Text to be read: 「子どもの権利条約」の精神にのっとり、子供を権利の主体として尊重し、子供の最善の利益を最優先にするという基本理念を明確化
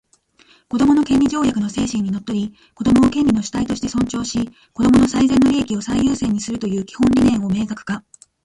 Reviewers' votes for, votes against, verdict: 2, 1, accepted